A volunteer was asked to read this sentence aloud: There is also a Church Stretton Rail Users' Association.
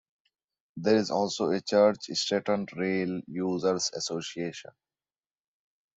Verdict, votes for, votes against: accepted, 2, 0